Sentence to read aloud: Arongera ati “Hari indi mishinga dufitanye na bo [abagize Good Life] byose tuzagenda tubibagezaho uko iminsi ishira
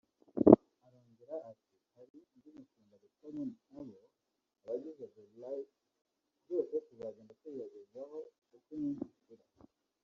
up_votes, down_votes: 1, 2